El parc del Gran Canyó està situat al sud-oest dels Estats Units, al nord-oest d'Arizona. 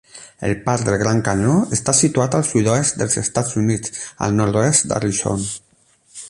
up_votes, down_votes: 0, 8